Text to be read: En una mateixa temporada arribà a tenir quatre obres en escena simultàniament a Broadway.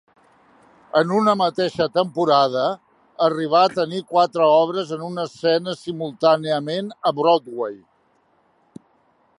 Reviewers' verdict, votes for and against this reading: rejected, 1, 2